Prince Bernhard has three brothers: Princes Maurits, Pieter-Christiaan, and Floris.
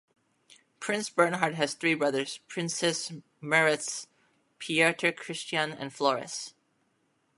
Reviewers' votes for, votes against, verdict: 1, 2, rejected